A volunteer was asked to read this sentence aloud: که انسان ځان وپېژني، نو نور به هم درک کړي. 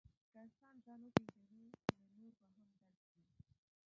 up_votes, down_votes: 2, 1